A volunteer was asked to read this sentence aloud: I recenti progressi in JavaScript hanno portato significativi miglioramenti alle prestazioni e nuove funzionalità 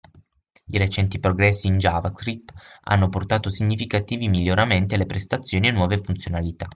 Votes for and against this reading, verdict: 6, 3, accepted